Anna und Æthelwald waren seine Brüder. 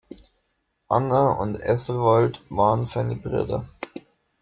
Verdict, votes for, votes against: rejected, 0, 2